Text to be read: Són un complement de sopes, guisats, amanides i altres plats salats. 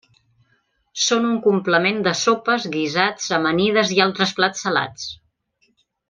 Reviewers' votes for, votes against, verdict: 3, 0, accepted